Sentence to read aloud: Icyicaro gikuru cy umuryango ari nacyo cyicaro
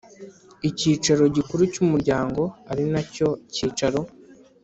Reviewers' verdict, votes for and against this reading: accepted, 4, 0